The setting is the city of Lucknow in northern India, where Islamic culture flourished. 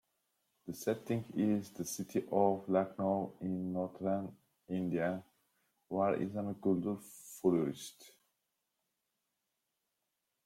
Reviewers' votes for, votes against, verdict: 1, 2, rejected